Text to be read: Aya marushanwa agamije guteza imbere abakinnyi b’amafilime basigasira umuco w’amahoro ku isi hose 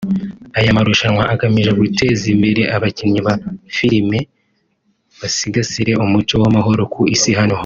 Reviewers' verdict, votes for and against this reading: rejected, 1, 2